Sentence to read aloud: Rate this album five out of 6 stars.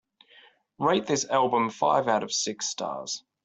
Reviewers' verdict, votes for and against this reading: rejected, 0, 2